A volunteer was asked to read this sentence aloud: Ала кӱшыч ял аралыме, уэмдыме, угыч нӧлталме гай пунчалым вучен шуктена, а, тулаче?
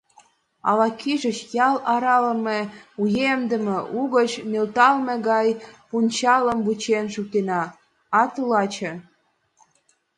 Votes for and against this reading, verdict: 0, 2, rejected